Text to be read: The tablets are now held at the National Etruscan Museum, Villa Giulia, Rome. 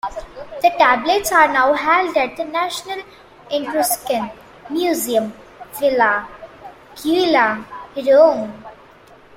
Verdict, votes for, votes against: accepted, 2, 1